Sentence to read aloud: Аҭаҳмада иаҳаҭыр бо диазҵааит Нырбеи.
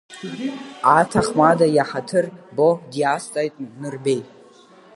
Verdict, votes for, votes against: accepted, 2, 0